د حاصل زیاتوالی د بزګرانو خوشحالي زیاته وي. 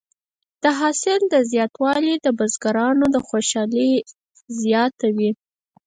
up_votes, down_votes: 2, 4